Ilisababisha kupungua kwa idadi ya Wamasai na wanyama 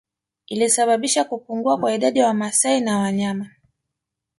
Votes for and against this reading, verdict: 2, 0, accepted